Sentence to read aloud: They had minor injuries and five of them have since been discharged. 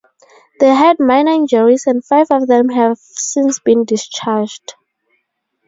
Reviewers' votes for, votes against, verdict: 2, 2, rejected